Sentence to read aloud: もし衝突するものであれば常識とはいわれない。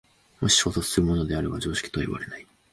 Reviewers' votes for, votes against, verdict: 2, 0, accepted